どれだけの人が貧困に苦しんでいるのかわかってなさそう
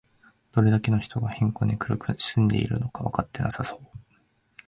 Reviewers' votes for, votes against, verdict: 2, 0, accepted